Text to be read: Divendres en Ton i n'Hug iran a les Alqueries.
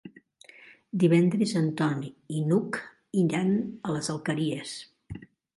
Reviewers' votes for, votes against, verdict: 2, 0, accepted